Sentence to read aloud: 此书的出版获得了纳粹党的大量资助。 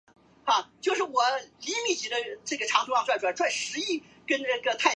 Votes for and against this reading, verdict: 0, 2, rejected